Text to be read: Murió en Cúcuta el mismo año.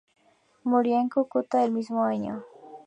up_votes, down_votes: 2, 0